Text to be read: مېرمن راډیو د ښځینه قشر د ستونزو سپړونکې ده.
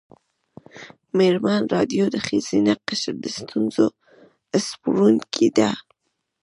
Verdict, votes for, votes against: rejected, 1, 2